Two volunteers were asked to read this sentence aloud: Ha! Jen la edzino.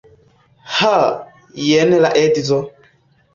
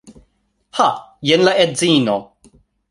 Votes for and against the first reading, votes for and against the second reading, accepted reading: 0, 2, 2, 0, second